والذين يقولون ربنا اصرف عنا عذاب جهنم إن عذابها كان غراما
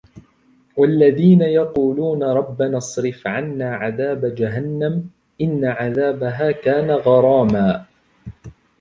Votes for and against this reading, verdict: 2, 0, accepted